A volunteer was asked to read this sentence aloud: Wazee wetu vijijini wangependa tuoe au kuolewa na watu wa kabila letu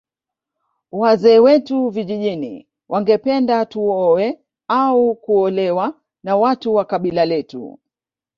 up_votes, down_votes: 1, 2